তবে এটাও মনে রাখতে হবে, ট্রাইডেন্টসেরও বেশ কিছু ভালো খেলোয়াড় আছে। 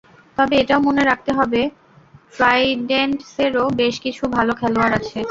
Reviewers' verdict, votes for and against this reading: accepted, 2, 0